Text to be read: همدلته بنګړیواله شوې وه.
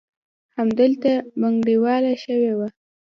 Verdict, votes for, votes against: rejected, 1, 2